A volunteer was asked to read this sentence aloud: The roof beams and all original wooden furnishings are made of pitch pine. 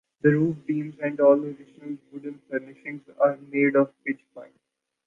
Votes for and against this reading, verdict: 0, 2, rejected